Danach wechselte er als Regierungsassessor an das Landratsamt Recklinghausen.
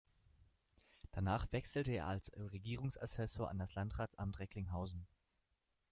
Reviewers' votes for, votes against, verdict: 1, 2, rejected